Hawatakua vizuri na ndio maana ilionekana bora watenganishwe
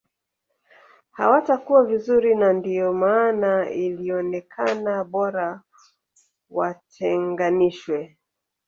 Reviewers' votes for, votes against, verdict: 3, 1, accepted